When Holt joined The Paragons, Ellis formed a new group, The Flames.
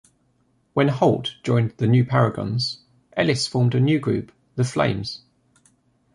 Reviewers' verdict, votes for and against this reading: rejected, 1, 2